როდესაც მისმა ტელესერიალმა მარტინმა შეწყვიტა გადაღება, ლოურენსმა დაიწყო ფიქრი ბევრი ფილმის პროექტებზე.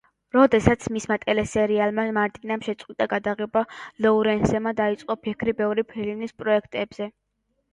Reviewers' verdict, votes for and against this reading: rejected, 0, 2